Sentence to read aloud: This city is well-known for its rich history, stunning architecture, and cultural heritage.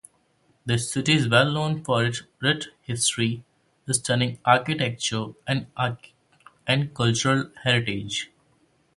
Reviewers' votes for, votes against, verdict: 0, 2, rejected